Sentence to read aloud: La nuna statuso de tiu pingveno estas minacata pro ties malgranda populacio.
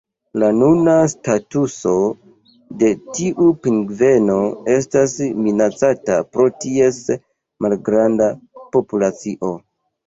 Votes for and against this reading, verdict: 3, 0, accepted